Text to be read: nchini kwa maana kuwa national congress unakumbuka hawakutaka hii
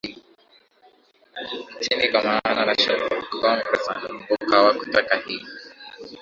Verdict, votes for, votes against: rejected, 1, 2